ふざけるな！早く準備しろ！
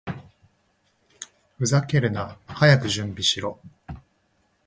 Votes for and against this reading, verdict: 2, 0, accepted